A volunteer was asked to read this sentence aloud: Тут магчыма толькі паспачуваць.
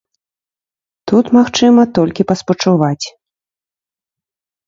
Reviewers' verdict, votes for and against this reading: accepted, 2, 0